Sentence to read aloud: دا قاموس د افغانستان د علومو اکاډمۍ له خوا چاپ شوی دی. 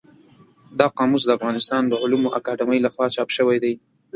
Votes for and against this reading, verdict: 3, 0, accepted